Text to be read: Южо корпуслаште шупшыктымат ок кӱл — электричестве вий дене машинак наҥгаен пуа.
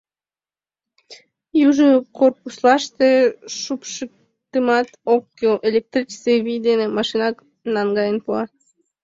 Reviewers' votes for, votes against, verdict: 0, 2, rejected